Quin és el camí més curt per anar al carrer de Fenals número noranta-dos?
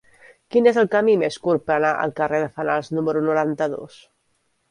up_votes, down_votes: 1, 2